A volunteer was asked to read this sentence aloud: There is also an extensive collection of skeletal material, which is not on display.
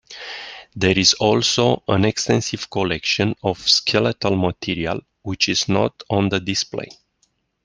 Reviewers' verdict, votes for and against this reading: accepted, 2, 1